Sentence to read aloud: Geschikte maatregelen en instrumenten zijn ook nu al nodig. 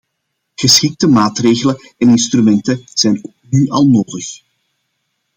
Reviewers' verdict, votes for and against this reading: rejected, 1, 2